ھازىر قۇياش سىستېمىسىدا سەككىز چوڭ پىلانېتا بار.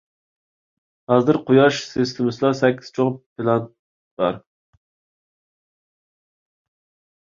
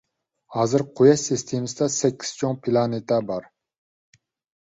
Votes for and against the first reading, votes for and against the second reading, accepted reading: 1, 2, 2, 0, second